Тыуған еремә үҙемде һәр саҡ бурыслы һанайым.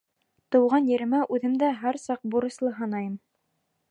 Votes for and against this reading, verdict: 1, 2, rejected